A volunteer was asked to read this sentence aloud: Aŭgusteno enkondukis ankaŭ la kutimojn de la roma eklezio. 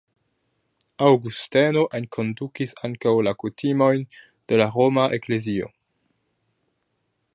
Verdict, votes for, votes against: accepted, 2, 0